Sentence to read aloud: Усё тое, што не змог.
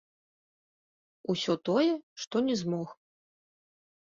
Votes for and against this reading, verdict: 0, 2, rejected